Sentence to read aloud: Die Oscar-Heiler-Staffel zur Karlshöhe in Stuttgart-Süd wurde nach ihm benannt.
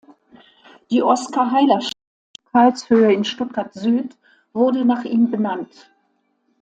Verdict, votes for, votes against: rejected, 0, 2